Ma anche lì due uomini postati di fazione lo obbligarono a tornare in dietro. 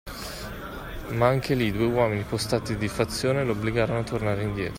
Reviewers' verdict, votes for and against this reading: accepted, 2, 0